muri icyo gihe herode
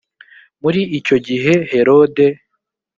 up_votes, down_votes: 2, 0